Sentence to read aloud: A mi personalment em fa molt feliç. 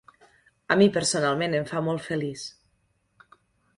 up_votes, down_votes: 3, 0